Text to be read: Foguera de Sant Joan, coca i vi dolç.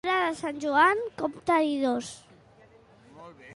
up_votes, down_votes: 0, 2